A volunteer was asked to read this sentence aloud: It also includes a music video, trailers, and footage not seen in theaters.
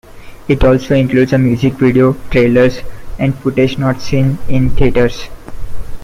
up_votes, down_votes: 2, 0